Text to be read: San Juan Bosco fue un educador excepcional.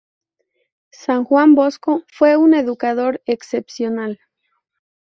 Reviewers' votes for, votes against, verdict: 0, 2, rejected